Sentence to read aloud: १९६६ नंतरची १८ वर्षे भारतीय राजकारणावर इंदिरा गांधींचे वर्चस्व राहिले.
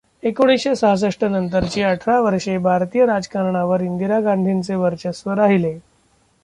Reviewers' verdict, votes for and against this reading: rejected, 0, 2